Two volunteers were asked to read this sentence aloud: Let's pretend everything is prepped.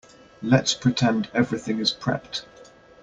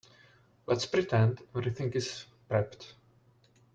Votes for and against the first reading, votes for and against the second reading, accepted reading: 2, 0, 0, 2, first